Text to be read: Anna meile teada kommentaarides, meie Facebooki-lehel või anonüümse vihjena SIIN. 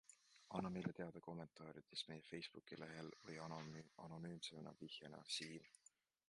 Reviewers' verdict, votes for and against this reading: rejected, 0, 2